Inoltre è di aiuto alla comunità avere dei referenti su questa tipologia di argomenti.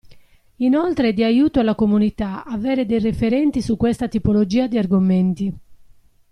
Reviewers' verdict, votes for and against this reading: rejected, 1, 2